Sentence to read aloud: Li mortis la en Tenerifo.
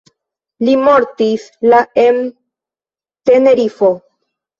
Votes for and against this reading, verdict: 0, 2, rejected